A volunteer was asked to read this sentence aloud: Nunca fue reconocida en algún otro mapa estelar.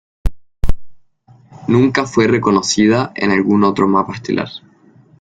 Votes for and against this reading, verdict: 2, 0, accepted